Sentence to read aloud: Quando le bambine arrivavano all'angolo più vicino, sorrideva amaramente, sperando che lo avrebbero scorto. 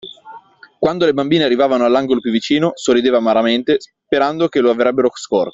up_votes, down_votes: 1, 2